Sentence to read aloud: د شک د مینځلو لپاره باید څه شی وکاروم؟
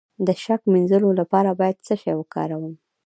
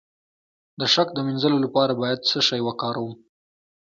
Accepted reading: second